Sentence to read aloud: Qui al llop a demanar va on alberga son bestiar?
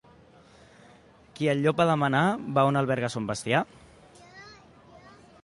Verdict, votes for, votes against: accepted, 2, 0